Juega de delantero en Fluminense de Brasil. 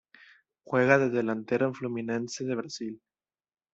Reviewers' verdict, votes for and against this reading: accepted, 2, 0